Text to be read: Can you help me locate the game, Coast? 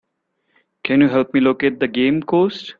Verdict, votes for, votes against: accepted, 2, 1